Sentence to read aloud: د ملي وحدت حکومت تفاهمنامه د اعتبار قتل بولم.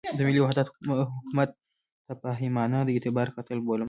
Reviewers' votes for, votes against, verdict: 2, 0, accepted